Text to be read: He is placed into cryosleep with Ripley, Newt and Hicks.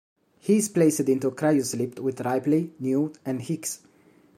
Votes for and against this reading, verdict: 1, 2, rejected